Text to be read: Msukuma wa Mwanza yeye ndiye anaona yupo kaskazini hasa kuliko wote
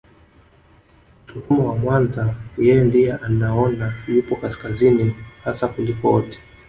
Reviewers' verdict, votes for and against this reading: accepted, 4, 0